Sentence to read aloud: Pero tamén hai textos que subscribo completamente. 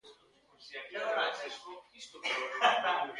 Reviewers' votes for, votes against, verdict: 0, 2, rejected